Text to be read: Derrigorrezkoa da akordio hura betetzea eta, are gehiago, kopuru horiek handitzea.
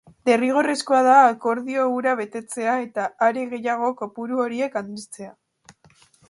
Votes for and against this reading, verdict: 2, 0, accepted